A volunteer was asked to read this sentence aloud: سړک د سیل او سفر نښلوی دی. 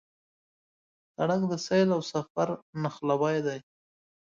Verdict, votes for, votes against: accepted, 2, 1